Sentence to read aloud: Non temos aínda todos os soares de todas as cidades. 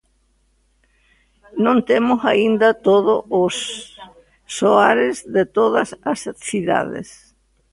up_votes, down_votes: 0, 2